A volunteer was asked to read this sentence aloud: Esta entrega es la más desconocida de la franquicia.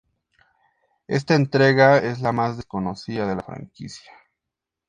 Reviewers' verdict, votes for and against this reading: accepted, 2, 0